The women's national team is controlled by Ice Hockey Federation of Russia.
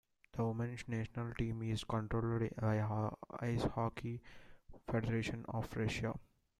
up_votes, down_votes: 0, 2